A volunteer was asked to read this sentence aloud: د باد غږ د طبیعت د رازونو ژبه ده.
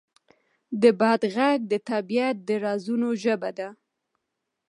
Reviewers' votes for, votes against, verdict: 0, 2, rejected